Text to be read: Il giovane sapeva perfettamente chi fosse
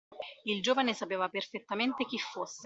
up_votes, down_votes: 2, 1